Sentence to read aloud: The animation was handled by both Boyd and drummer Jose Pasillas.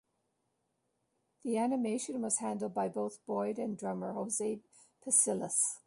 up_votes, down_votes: 1, 2